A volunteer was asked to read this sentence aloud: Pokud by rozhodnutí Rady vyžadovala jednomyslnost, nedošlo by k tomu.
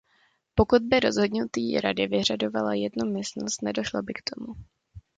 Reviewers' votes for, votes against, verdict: 0, 2, rejected